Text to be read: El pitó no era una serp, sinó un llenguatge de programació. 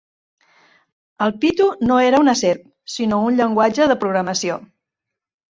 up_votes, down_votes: 0, 2